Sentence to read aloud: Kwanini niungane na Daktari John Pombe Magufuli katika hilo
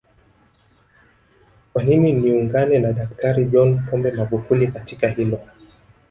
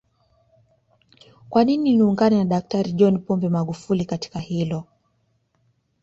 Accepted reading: second